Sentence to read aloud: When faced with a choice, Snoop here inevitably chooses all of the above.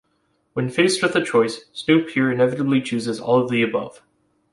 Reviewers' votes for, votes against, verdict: 3, 0, accepted